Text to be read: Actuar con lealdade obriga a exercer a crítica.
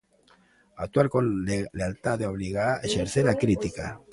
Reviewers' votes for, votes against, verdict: 0, 2, rejected